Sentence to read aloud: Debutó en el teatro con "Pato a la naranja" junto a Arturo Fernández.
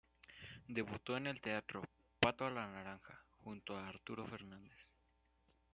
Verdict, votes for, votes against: rejected, 1, 2